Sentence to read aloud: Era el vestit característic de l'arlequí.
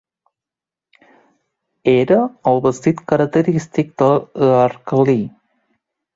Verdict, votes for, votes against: rejected, 2, 3